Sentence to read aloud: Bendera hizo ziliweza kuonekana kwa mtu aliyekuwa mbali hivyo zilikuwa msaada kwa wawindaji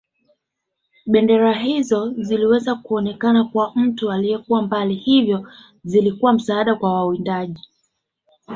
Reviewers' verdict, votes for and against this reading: accepted, 3, 0